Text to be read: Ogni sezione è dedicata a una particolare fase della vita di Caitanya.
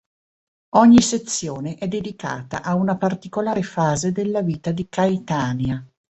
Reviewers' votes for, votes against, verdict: 2, 0, accepted